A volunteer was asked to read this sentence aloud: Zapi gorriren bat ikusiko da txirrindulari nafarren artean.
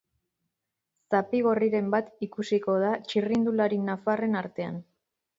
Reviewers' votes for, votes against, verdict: 3, 0, accepted